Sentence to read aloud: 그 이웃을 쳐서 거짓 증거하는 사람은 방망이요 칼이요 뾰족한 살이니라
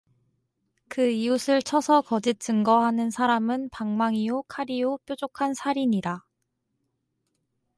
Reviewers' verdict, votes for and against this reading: accepted, 4, 0